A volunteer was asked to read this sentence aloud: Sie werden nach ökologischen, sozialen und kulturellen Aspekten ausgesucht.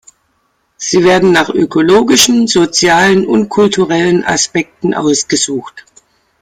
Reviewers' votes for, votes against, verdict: 2, 0, accepted